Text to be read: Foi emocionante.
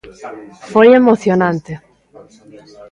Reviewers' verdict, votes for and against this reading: accepted, 2, 0